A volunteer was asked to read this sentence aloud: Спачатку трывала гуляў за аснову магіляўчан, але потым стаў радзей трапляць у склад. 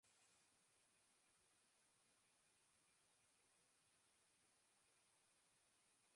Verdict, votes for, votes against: rejected, 0, 2